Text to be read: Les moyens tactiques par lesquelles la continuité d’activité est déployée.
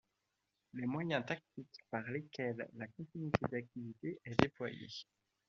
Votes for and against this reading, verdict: 0, 2, rejected